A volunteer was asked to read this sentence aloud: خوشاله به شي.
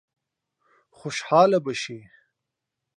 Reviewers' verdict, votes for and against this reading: accepted, 3, 0